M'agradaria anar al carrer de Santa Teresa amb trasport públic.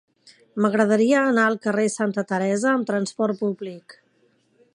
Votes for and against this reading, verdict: 0, 2, rejected